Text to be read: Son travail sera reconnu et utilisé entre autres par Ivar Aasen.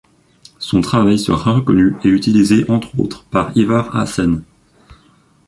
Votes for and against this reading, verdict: 0, 2, rejected